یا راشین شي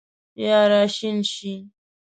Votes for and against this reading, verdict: 4, 1, accepted